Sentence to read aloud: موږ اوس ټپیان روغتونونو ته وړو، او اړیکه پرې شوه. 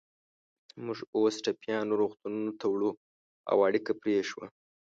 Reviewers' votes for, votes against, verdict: 2, 0, accepted